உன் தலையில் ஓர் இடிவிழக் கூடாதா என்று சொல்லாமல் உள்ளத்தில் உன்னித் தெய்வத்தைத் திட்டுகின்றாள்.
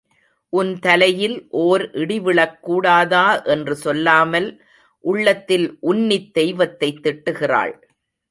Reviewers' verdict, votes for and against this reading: rejected, 0, 2